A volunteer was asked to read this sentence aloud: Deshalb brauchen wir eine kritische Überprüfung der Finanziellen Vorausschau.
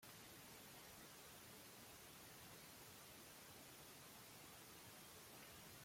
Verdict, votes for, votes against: rejected, 0, 2